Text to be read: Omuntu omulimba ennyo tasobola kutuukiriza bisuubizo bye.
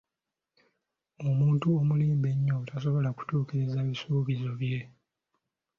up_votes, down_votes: 2, 0